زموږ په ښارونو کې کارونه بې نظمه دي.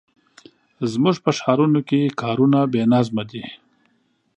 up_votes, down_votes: 2, 0